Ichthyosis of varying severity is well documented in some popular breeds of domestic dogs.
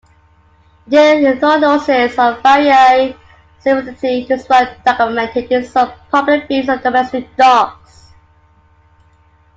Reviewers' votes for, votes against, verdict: 1, 2, rejected